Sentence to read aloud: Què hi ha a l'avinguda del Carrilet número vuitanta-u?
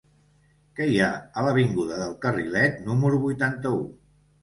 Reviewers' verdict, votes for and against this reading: accepted, 2, 0